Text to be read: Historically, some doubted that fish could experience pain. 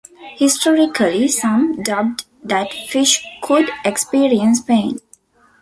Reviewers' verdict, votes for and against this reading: rejected, 1, 2